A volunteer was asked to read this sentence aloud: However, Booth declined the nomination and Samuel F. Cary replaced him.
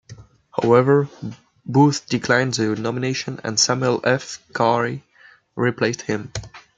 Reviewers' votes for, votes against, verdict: 2, 0, accepted